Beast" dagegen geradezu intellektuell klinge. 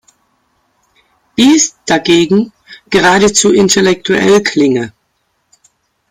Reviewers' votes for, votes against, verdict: 2, 0, accepted